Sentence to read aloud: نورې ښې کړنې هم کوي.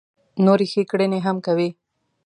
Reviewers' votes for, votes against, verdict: 2, 1, accepted